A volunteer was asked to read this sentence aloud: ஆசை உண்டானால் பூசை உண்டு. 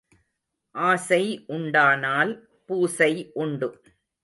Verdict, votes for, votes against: accepted, 2, 0